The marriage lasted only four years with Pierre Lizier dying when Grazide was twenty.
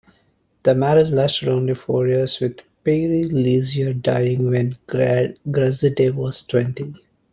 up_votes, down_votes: 0, 2